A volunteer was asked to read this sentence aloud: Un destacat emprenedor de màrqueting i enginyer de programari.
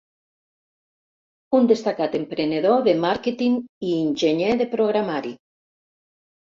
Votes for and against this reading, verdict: 1, 2, rejected